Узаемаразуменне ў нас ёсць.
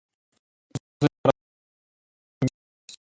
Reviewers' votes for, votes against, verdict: 0, 2, rejected